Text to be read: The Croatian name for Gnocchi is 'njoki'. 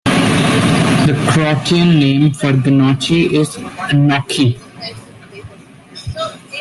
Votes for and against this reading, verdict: 0, 2, rejected